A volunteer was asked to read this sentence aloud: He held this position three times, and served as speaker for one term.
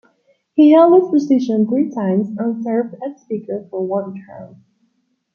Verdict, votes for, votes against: rejected, 1, 2